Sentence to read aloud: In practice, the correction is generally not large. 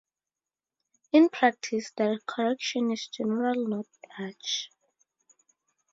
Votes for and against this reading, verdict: 2, 2, rejected